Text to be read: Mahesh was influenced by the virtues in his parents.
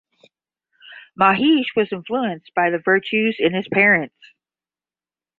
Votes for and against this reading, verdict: 10, 0, accepted